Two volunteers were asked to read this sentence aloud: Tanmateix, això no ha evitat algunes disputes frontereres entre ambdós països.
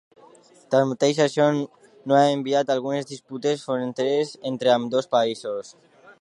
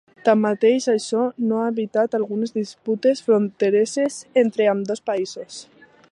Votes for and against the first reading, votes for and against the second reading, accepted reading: 0, 2, 2, 1, second